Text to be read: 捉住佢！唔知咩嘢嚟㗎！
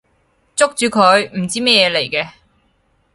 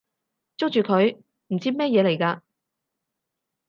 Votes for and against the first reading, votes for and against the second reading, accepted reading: 2, 2, 4, 0, second